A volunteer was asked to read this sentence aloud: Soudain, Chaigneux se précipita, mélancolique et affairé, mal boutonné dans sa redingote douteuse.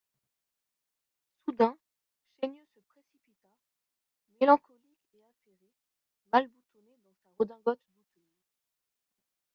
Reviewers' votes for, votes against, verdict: 0, 2, rejected